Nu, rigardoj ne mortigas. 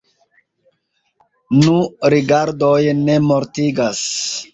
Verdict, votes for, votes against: accepted, 2, 0